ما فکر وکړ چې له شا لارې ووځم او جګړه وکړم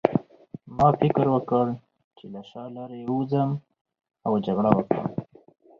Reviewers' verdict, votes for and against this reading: accepted, 4, 0